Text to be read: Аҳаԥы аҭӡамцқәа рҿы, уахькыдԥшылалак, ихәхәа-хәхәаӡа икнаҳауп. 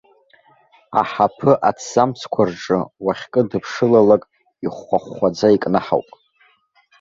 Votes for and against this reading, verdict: 1, 2, rejected